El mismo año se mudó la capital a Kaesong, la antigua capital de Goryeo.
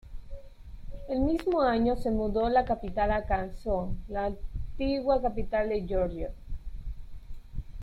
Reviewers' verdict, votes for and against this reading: rejected, 1, 2